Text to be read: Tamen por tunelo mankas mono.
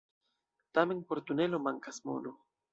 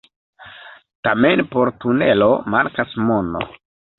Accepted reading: first